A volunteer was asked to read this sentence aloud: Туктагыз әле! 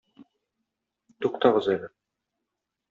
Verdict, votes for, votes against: rejected, 1, 2